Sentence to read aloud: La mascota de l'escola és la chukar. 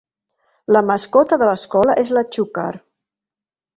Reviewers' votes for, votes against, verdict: 2, 0, accepted